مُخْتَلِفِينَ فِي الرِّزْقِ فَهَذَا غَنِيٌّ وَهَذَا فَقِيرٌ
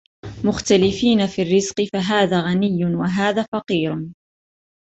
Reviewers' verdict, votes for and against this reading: accepted, 2, 0